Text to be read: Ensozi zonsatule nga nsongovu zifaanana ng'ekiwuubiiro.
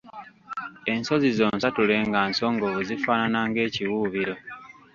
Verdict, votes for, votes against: rejected, 1, 2